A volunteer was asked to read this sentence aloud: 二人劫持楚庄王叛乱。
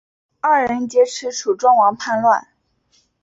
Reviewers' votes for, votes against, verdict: 2, 1, accepted